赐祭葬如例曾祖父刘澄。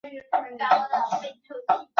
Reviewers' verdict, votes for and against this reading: rejected, 0, 4